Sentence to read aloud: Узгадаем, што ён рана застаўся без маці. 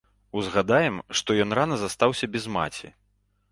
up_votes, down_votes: 2, 0